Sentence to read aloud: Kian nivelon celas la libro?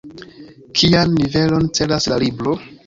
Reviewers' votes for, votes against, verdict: 2, 1, accepted